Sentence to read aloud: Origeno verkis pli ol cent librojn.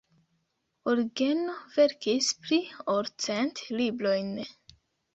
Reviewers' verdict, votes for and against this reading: rejected, 1, 2